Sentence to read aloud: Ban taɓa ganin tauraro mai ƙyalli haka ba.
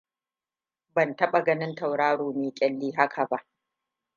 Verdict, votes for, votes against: accepted, 2, 0